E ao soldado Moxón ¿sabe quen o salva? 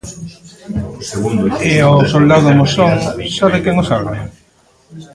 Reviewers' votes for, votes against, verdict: 0, 2, rejected